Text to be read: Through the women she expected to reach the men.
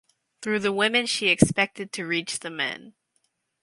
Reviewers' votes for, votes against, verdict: 4, 0, accepted